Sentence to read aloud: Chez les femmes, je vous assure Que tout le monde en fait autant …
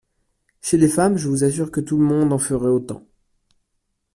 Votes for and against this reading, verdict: 0, 2, rejected